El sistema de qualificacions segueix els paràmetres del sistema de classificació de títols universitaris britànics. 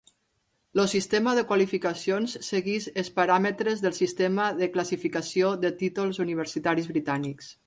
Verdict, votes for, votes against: rejected, 1, 2